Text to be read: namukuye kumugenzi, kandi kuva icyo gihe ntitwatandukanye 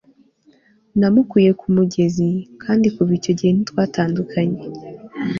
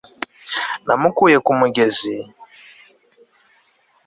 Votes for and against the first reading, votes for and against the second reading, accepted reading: 3, 0, 1, 2, first